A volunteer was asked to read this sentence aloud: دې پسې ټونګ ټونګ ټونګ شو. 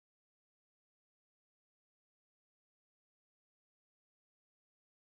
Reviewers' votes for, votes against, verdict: 2, 4, rejected